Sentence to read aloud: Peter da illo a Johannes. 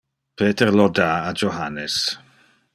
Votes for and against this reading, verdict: 1, 2, rejected